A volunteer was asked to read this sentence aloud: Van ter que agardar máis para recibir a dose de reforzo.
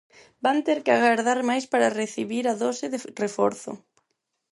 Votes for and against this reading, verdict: 0, 4, rejected